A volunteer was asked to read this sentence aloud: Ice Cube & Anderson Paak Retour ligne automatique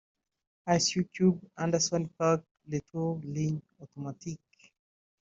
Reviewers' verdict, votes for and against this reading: rejected, 0, 2